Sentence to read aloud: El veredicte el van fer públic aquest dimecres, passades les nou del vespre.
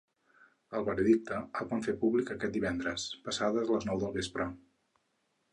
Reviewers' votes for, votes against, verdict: 0, 4, rejected